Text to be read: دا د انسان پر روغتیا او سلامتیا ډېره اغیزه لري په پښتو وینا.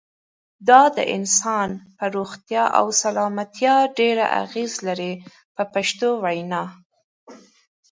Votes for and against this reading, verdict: 3, 0, accepted